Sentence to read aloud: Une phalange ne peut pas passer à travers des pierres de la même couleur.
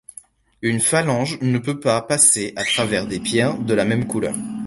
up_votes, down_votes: 2, 0